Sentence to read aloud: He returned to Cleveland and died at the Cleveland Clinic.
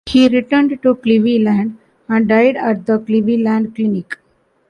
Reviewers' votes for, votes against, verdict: 1, 2, rejected